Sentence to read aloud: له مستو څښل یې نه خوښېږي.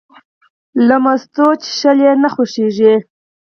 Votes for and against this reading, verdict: 4, 0, accepted